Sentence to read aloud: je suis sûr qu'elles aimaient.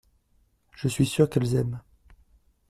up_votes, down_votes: 0, 2